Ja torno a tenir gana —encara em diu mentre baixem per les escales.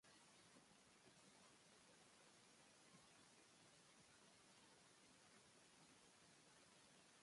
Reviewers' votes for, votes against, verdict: 0, 2, rejected